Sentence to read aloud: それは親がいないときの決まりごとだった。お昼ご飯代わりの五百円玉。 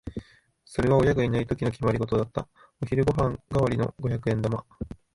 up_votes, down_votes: 2, 0